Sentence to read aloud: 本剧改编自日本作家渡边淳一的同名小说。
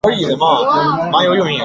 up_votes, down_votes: 0, 4